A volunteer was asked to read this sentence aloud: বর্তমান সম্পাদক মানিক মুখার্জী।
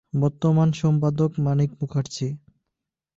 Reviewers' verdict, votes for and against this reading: accepted, 3, 0